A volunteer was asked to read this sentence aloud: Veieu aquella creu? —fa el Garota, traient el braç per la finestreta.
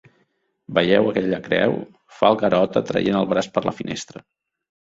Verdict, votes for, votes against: accepted, 3, 2